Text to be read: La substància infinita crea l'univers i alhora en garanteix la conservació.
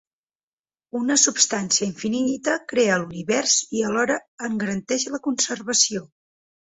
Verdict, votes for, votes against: rejected, 0, 6